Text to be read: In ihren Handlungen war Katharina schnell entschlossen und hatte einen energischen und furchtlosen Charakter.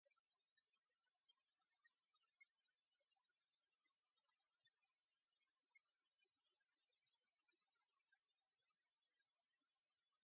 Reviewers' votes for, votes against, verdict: 0, 2, rejected